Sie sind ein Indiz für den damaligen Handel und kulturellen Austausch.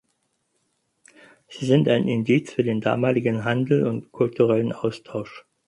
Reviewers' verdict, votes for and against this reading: accepted, 4, 0